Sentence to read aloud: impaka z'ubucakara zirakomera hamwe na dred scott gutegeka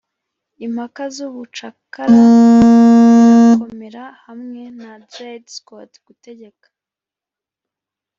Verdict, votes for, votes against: rejected, 0, 2